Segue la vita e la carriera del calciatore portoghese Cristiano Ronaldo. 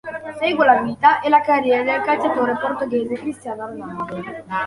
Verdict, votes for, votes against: accepted, 2, 0